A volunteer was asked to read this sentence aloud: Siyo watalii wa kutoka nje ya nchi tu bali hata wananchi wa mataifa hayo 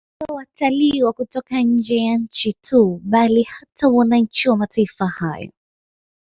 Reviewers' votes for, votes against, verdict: 2, 0, accepted